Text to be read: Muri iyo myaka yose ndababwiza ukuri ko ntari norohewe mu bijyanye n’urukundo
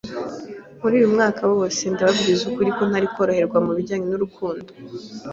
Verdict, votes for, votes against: rejected, 1, 2